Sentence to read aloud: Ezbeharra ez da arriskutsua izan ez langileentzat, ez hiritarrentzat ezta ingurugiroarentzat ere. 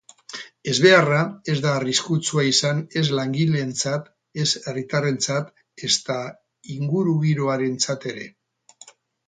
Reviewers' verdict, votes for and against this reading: rejected, 4, 6